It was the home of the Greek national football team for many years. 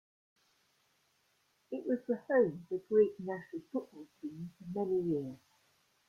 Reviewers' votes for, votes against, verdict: 1, 2, rejected